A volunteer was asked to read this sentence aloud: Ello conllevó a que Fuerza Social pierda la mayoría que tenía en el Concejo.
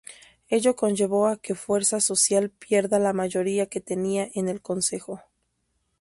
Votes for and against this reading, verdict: 0, 2, rejected